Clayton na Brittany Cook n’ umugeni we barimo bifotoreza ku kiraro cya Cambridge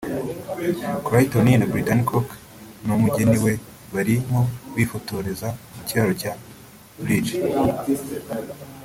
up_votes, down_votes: 0, 2